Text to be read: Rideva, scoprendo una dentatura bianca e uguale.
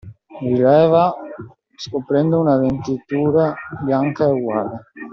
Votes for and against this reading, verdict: 0, 2, rejected